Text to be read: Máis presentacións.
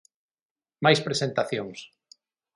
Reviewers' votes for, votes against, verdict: 9, 0, accepted